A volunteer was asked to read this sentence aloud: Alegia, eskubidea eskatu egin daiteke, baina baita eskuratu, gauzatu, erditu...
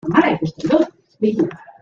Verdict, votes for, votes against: rejected, 0, 2